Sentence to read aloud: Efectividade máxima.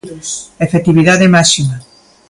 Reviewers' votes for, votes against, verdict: 1, 2, rejected